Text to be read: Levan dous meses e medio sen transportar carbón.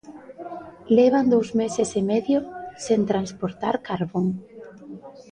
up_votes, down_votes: 1, 2